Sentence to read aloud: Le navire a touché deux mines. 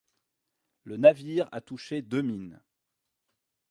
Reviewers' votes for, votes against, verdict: 0, 2, rejected